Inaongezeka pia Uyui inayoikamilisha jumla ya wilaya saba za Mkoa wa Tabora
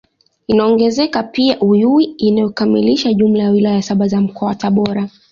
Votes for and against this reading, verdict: 2, 0, accepted